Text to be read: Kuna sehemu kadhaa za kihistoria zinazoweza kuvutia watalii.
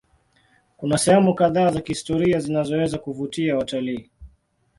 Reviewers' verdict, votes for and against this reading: accepted, 2, 0